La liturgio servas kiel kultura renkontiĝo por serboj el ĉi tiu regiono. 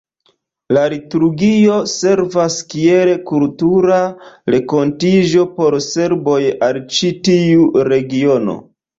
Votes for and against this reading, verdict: 1, 2, rejected